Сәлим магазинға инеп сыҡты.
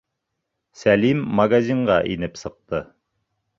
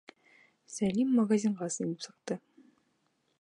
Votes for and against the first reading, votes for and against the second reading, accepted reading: 3, 0, 1, 2, first